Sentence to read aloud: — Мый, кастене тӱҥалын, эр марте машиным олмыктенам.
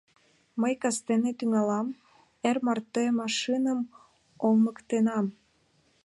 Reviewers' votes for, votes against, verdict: 1, 2, rejected